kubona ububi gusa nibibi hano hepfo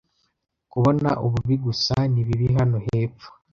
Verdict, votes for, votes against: accepted, 2, 0